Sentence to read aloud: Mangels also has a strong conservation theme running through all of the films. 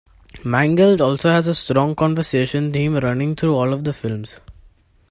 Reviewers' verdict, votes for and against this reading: rejected, 1, 2